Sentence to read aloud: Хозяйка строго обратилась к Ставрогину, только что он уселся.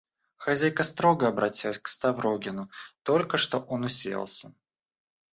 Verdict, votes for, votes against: rejected, 1, 2